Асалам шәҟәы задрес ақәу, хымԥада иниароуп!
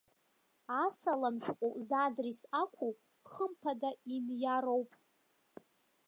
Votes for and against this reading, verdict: 2, 1, accepted